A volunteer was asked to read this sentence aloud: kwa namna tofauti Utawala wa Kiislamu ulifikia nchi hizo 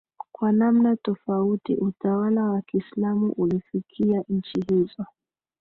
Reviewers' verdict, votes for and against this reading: accepted, 3, 2